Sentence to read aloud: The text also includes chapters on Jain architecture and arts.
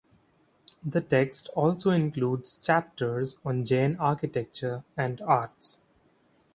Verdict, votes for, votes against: accepted, 3, 0